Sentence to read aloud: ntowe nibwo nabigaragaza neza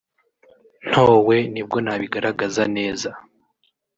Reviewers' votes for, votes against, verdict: 3, 0, accepted